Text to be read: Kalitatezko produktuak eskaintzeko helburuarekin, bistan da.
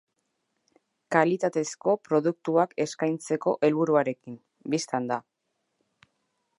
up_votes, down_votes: 0, 2